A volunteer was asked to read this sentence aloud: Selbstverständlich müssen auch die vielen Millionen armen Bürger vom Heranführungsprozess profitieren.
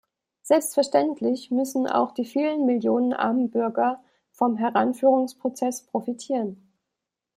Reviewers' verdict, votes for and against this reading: accepted, 2, 0